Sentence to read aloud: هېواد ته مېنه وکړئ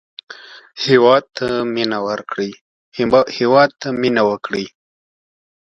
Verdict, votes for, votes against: rejected, 1, 2